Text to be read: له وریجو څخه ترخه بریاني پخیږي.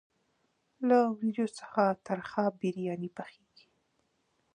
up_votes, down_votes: 2, 0